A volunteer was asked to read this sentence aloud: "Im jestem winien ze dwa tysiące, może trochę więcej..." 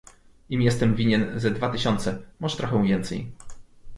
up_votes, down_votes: 2, 0